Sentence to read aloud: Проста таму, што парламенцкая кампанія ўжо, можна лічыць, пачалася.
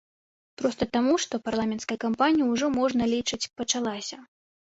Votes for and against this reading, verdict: 1, 2, rejected